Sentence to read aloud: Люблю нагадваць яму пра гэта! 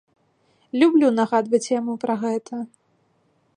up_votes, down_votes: 2, 0